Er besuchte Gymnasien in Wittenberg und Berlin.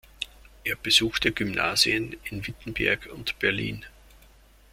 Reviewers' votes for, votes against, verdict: 2, 1, accepted